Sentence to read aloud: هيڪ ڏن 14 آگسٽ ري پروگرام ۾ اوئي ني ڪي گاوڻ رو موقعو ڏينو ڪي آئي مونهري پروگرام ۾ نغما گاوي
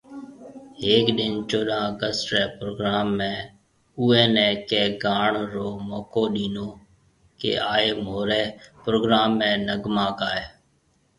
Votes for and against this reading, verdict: 0, 2, rejected